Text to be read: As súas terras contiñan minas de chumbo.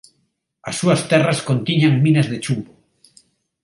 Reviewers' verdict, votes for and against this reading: accepted, 2, 0